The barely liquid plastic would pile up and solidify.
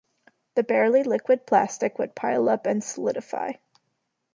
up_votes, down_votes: 2, 0